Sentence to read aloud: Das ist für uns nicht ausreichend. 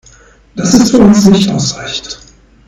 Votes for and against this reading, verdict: 2, 0, accepted